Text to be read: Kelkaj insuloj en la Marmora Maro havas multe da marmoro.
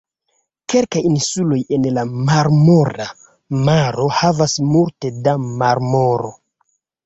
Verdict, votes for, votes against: accepted, 2, 0